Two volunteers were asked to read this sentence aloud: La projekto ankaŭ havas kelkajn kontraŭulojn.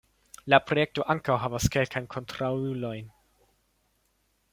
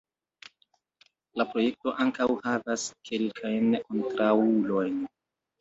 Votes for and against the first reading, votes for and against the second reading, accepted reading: 2, 0, 1, 2, first